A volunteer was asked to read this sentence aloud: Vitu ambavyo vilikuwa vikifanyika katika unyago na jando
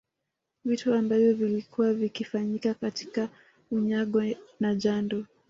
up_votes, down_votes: 1, 2